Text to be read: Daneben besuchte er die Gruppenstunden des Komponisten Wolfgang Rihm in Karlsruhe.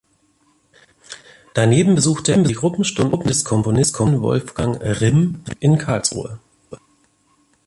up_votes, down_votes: 0, 2